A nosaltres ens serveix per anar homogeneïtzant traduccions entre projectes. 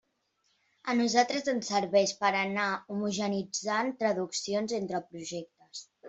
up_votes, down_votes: 1, 2